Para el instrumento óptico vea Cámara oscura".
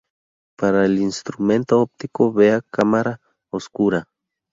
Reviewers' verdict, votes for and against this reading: accepted, 2, 0